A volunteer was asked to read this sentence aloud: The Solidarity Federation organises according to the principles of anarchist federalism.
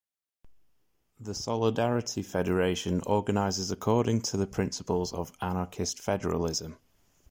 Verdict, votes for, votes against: accepted, 2, 0